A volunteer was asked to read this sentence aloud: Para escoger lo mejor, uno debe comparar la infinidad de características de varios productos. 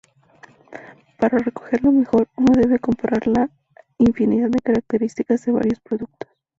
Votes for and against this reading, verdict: 0, 2, rejected